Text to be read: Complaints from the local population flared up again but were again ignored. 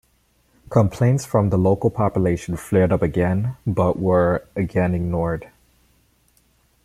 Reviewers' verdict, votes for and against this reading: accepted, 2, 0